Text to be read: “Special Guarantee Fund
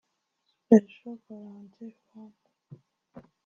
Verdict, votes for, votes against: rejected, 0, 2